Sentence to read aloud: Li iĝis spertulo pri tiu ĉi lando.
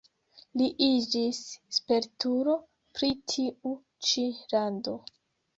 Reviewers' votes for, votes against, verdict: 2, 0, accepted